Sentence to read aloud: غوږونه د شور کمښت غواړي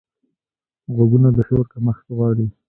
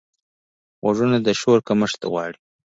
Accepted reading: first